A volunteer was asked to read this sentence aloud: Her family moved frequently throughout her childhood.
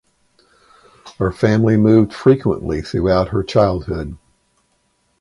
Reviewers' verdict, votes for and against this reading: accepted, 4, 0